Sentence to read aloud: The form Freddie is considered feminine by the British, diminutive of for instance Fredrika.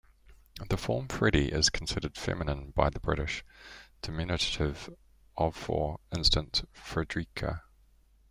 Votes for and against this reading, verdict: 1, 2, rejected